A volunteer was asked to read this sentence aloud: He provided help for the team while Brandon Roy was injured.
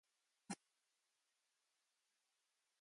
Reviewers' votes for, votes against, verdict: 0, 2, rejected